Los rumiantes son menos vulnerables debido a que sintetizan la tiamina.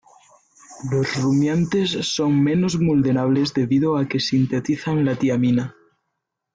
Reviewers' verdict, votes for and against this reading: accepted, 2, 0